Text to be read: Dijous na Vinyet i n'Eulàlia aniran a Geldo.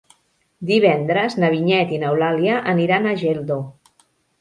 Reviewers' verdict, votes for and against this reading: rejected, 0, 2